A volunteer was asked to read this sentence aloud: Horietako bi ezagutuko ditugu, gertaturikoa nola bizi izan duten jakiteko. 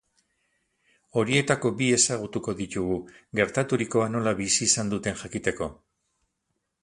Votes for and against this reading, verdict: 8, 0, accepted